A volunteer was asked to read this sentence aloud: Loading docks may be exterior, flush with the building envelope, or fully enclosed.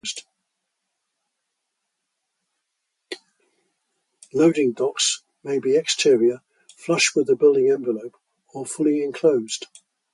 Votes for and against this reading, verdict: 2, 0, accepted